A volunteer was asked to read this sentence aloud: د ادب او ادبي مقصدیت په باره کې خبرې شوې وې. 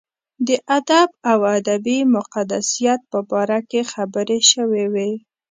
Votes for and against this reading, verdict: 0, 2, rejected